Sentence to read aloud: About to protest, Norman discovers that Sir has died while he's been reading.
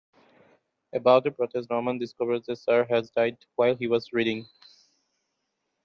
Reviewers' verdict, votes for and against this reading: rejected, 1, 2